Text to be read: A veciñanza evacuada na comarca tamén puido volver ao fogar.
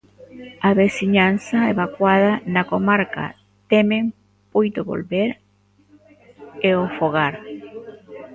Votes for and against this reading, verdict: 1, 2, rejected